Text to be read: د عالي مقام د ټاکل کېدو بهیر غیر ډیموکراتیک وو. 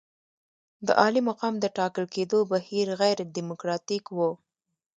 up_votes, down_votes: 2, 0